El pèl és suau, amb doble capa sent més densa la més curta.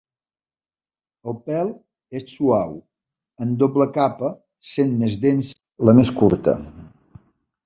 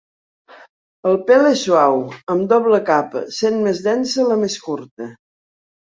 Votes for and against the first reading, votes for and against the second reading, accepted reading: 0, 2, 2, 0, second